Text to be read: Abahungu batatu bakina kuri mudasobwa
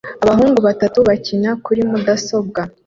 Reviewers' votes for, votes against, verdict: 2, 0, accepted